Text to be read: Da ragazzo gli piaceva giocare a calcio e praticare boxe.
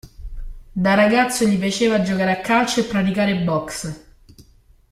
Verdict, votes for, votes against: accepted, 2, 0